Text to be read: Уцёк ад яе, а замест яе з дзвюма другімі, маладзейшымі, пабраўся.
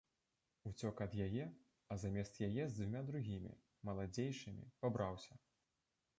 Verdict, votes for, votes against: rejected, 1, 2